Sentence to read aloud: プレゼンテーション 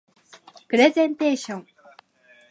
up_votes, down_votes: 2, 0